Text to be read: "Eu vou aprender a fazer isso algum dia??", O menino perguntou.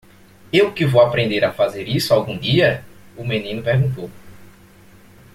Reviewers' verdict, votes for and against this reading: rejected, 0, 2